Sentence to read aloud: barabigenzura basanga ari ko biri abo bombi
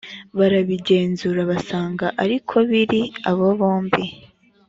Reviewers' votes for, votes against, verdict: 2, 0, accepted